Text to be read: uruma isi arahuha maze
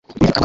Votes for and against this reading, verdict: 0, 2, rejected